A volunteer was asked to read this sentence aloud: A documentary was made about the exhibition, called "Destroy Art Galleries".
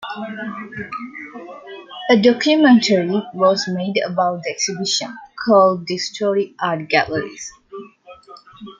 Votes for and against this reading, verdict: 2, 0, accepted